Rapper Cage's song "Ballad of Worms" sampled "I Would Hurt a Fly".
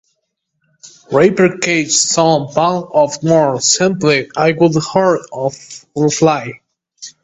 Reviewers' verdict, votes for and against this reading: rejected, 0, 2